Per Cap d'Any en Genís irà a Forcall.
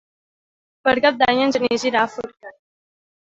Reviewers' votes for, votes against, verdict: 0, 2, rejected